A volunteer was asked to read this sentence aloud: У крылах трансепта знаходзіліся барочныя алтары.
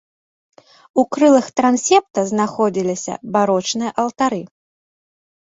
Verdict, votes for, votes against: accepted, 2, 0